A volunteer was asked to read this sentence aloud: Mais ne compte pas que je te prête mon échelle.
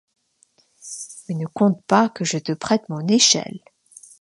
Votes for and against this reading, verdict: 2, 1, accepted